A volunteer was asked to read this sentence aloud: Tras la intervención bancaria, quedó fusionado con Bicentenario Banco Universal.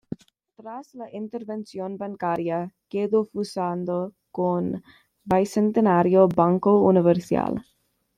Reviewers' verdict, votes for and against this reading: rejected, 1, 2